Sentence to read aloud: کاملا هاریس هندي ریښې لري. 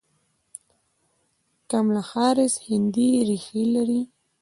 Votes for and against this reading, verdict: 1, 2, rejected